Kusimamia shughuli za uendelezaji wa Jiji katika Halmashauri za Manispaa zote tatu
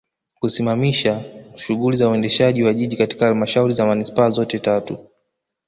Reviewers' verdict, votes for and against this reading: rejected, 1, 2